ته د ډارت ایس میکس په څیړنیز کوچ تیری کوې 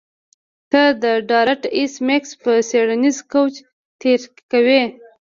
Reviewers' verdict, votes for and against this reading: rejected, 0, 2